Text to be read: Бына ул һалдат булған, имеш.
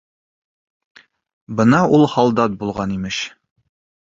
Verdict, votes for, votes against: accepted, 2, 0